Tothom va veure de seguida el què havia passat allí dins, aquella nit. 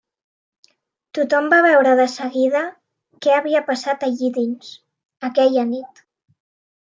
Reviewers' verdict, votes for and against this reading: rejected, 0, 2